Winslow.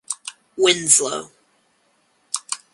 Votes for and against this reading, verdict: 2, 0, accepted